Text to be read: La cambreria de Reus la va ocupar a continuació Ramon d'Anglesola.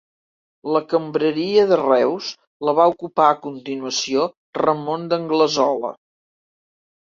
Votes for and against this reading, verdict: 2, 0, accepted